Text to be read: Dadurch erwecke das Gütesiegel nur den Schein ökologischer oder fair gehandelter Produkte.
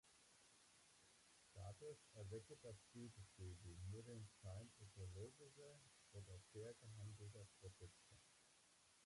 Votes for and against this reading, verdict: 0, 2, rejected